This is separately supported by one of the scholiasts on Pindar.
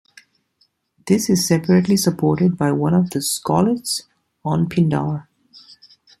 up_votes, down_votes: 0, 2